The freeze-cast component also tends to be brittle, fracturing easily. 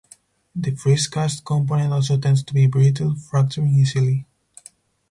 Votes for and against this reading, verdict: 4, 0, accepted